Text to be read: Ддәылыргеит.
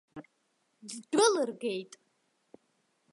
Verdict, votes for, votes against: rejected, 1, 3